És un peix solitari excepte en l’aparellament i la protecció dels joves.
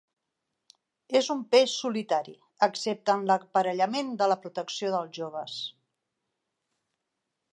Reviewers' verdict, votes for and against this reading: rejected, 0, 2